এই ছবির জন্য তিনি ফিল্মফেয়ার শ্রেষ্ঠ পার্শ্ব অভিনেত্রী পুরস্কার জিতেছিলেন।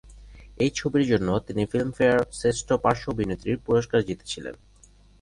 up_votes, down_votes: 6, 0